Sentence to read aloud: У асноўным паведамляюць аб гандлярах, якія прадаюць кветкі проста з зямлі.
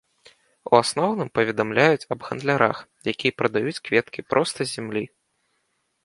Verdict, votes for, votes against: accepted, 2, 0